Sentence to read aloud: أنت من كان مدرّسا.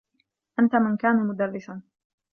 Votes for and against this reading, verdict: 2, 0, accepted